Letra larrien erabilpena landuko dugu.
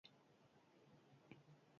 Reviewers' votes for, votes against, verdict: 0, 6, rejected